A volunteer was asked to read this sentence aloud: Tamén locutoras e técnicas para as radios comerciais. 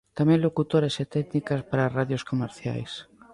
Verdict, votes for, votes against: accepted, 2, 1